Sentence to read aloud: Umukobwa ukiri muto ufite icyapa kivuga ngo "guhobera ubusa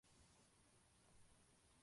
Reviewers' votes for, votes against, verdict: 0, 2, rejected